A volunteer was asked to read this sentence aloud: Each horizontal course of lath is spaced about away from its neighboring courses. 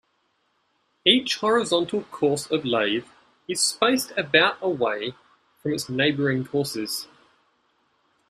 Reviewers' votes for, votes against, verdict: 2, 0, accepted